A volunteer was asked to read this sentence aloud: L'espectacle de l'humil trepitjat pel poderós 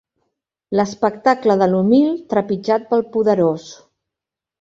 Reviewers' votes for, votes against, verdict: 2, 0, accepted